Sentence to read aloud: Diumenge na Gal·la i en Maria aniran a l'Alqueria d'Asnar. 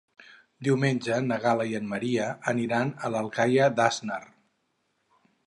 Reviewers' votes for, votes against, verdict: 0, 4, rejected